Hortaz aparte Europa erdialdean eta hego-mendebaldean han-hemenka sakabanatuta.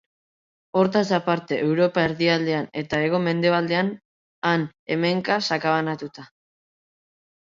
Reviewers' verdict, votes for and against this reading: accepted, 2, 0